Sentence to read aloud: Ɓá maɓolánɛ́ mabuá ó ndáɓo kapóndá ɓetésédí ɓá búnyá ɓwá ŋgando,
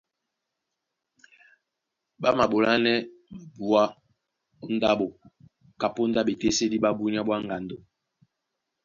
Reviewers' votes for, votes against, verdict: 1, 2, rejected